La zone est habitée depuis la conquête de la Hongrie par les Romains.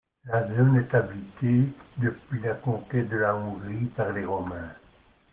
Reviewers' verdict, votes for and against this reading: accepted, 2, 1